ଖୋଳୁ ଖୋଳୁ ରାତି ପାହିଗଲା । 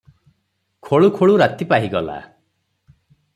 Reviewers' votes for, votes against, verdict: 6, 0, accepted